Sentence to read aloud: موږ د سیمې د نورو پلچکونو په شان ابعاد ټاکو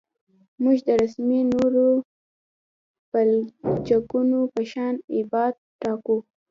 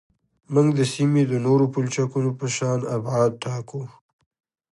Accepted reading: second